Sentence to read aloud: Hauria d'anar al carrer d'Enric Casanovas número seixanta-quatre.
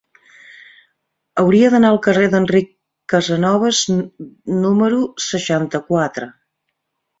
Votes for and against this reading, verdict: 1, 2, rejected